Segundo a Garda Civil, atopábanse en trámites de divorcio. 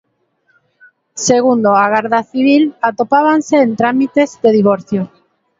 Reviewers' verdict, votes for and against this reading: accepted, 3, 0